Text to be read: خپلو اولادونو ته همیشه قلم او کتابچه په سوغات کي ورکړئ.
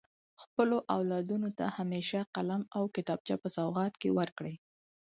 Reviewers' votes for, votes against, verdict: 4, 0, accepted